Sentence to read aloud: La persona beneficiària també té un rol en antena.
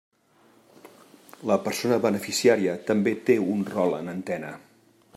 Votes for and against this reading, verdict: 3, 0, accepted